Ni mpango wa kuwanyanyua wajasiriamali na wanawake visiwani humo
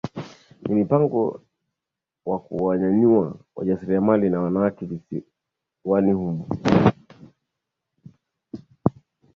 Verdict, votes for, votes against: accepted, 4, 0